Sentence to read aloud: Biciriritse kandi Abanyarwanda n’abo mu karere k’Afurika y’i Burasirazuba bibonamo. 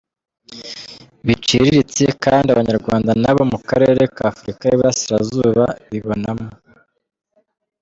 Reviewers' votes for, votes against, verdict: 1, 2, rejected